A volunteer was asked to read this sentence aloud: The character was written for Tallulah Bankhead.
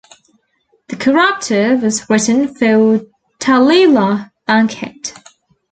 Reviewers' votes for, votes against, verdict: 1, 2, rejected